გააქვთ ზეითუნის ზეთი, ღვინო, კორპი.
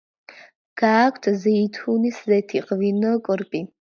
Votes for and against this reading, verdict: 2, 0, accepted